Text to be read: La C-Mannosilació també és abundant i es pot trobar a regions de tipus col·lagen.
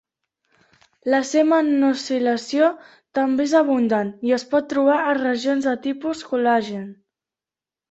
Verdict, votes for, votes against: accepted, 2, 0